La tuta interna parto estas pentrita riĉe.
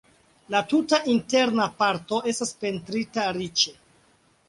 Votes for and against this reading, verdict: 2, 0, accepted